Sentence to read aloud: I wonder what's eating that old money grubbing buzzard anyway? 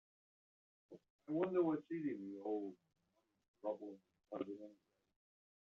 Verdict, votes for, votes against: rejected, 1, 3